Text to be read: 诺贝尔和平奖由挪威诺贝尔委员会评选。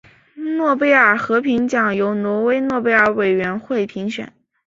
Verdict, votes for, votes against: accepted, 2, 1